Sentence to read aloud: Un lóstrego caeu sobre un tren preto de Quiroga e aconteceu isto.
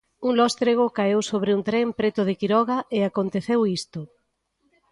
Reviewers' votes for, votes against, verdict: 2, 0, accepted